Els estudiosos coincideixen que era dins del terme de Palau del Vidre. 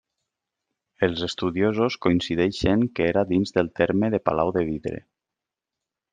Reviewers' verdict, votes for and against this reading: rejected, 1, 2